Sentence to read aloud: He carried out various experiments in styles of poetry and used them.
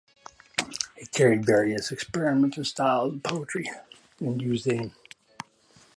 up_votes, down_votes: 0, 2